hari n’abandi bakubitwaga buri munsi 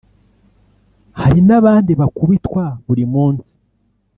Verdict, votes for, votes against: rejected, 1, 3